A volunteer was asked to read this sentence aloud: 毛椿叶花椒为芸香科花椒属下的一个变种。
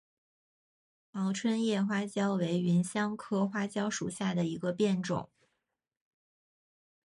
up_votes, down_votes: 2, 0